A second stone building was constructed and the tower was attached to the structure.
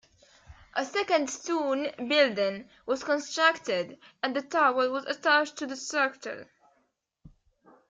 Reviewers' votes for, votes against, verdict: 2, 0, accepted